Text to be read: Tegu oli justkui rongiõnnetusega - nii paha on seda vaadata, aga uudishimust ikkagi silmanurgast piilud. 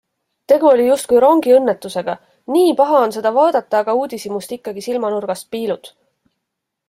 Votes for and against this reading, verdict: 2, 0, accepted